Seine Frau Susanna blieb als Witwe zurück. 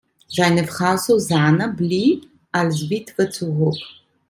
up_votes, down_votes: 0, 2